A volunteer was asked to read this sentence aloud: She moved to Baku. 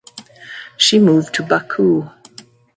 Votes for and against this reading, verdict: 2, 0, accepted